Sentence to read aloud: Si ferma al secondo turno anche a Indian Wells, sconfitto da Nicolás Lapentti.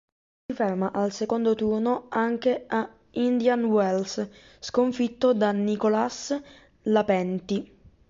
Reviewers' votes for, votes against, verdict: 0, 2, rejected